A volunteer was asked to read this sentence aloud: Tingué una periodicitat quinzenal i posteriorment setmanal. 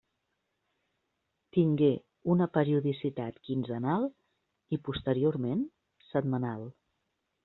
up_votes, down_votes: 3, 0